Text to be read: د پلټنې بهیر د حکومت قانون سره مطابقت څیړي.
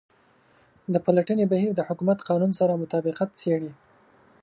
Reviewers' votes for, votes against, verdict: 2, 0, accepted